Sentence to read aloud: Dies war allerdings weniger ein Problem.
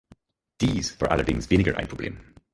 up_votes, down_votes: 2, 4